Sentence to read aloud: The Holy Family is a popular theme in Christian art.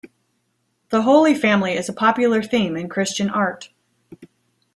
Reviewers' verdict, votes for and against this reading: accepted, 2, 0